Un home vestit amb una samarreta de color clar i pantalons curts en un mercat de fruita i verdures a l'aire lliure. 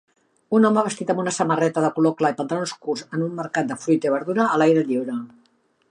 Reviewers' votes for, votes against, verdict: 3, 0, accepted